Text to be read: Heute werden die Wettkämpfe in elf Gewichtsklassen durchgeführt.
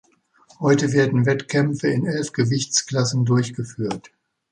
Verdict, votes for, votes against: rejected, 0, 2